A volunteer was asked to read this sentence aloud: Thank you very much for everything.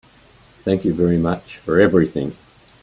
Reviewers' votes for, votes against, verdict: 3, 0, accepted